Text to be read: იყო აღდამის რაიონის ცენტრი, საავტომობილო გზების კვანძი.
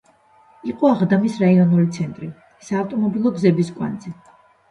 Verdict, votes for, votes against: rejected, 0, 2